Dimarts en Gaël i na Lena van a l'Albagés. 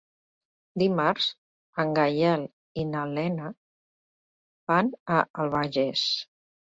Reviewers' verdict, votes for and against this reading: rejected, 1, 2